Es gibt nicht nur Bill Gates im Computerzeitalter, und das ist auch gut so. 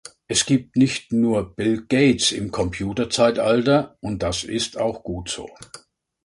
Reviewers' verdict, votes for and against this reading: accepted, 2, 0